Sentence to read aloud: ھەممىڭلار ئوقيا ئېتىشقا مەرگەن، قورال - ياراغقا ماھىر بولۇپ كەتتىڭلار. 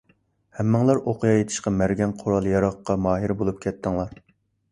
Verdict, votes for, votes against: accepted, 2, 0